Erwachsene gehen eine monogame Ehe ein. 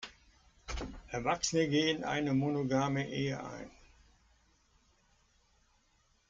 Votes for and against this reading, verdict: 2, 0, accepted